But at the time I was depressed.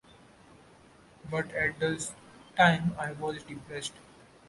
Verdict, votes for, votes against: rejected, 1, 2